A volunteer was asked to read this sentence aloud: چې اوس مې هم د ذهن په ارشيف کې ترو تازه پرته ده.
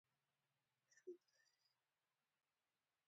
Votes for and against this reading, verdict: 0, 2, rejected